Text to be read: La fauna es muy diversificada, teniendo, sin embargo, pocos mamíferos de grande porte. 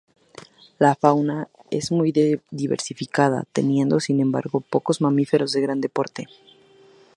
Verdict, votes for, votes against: accepted, 2, 0